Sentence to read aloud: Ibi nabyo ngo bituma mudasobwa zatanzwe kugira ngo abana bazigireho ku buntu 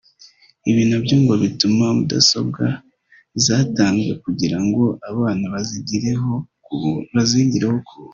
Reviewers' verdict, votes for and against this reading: rejected, 0, 2